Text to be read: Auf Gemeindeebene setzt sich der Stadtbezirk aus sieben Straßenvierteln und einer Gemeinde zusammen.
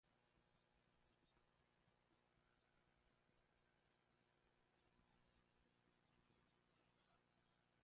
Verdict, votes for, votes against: rejected, 0, 2